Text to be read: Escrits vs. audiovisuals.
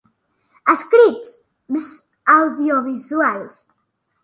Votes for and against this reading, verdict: 0, 2, rejected